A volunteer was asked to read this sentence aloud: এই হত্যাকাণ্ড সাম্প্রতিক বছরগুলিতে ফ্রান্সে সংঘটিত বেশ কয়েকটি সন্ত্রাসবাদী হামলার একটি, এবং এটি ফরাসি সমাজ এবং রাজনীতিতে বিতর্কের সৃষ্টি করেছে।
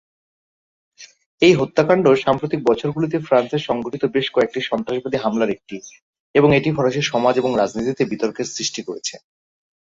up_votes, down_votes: 15, 0